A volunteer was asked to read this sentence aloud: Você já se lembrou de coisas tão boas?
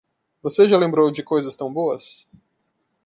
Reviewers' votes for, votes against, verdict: 1, 2, rejected